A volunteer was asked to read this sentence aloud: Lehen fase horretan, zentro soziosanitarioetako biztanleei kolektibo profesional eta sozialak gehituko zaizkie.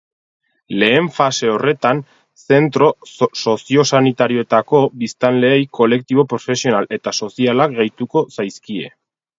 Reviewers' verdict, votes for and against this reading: rejected, 0, 4